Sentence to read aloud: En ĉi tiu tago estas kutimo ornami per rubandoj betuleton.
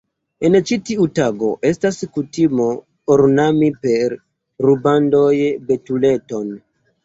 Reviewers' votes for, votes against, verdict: 2, 1, accepted